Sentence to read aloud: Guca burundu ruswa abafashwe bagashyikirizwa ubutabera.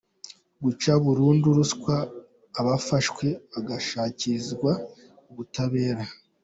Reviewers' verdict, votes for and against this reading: accepted, 2, 0